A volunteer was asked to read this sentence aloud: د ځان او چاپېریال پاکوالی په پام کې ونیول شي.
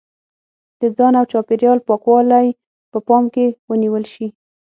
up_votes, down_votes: 6, 0